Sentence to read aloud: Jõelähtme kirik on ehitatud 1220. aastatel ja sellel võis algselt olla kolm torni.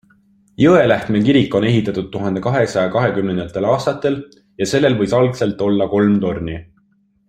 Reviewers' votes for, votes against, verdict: 0, 2, rejected